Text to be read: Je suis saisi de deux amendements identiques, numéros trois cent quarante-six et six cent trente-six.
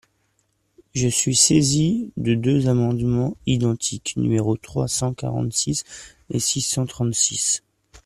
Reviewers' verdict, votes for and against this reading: accepted, 2, 0